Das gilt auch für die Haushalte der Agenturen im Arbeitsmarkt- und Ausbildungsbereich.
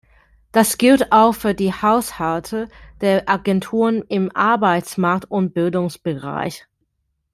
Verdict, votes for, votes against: accepted, 2, 1